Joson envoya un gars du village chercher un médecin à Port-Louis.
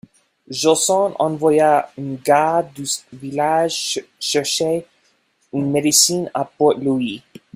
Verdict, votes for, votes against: rejected, 1, 2